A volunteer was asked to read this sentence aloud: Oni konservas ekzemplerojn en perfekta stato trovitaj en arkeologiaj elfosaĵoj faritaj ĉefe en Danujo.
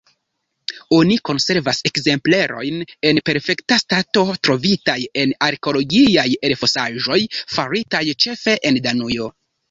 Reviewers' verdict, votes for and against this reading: rejected, 0, 2